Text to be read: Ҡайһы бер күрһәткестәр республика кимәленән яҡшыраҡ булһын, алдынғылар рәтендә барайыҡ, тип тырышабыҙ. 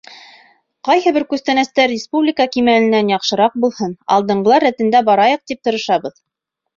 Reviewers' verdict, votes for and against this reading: rejected, 1, 2